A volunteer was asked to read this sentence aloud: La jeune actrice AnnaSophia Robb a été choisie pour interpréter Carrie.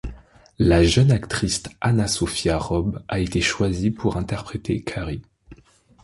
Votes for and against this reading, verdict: 1, 2, rejected